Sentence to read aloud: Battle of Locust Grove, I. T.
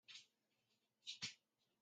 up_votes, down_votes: 0, 2